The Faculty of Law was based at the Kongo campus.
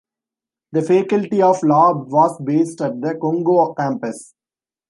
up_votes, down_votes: 1, 2